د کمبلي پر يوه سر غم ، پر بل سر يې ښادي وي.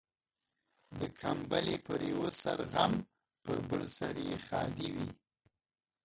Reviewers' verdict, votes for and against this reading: rejected, 1, 2